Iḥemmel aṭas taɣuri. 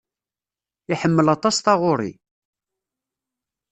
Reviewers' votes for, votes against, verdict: 2, 0, accepted